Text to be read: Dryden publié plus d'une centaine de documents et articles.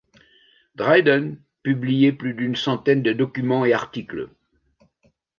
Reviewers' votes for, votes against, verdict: 2, 0, accepted